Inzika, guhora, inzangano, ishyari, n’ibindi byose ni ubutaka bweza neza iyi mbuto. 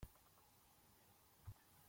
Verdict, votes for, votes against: rejected, 0, 2